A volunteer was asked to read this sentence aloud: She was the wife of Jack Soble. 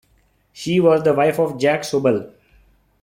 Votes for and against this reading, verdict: 2, 0, accepted